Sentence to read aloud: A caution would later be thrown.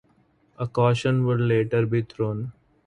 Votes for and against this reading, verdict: 2, 2, rejected